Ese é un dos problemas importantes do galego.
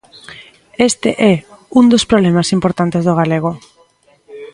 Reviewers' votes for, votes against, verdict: 1, 2, rejected